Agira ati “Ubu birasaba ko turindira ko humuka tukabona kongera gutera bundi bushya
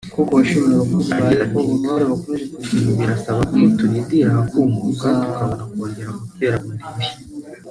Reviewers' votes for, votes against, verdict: 0, 2, rejected